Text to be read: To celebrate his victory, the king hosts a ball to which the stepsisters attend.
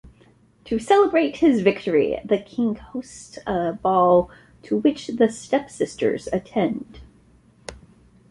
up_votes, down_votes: 2, 0